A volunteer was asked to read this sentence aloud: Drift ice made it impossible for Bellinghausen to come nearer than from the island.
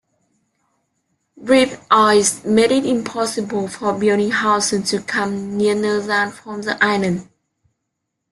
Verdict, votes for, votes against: accepted, 2, 0